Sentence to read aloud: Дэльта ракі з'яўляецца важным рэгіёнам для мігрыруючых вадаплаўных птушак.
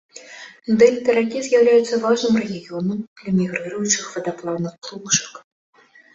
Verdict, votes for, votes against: accepted, 2, 0